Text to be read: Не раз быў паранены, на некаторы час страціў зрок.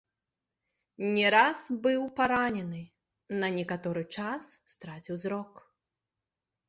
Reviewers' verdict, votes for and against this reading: rejected, 1, 2